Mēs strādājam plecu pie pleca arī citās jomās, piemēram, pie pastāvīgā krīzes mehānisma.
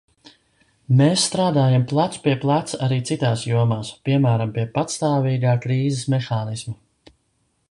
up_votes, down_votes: 2, 0